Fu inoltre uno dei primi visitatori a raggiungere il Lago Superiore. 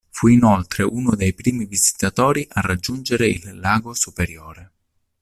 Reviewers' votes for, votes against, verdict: 2, 0, accepted